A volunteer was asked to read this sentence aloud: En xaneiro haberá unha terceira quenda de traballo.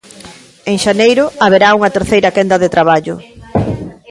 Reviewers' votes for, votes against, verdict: 2, 0, accepted